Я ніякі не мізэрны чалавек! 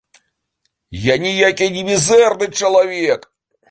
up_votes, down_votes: 2, 0